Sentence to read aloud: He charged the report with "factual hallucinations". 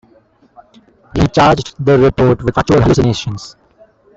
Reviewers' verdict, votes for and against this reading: rejected, 0, 2